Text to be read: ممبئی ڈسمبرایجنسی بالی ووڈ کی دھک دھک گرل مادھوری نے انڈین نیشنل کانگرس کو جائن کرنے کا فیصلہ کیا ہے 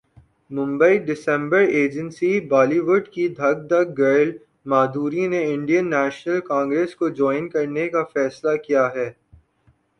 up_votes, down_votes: 2, 0